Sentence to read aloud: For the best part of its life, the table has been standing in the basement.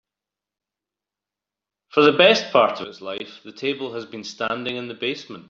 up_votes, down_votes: 2, 0